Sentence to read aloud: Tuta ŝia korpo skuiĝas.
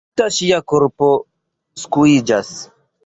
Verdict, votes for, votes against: rejected, 1, 2